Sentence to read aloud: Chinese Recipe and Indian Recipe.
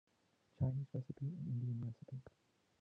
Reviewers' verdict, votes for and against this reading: rejected, 1, 2